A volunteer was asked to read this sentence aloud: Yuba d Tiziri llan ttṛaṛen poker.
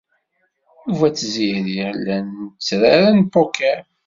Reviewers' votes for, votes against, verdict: 1, 2, rejected